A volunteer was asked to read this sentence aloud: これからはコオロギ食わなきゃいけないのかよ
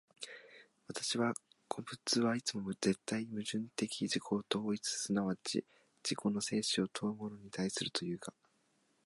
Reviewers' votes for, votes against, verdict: 1, 2, rejected